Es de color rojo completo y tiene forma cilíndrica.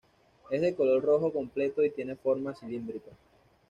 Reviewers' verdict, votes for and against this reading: accepted, 2, 0